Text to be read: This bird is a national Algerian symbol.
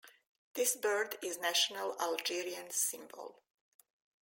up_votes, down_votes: 0, 2